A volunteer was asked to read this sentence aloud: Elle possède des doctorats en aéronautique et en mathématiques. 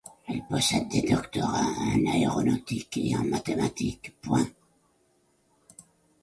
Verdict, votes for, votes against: rejected, 1, 2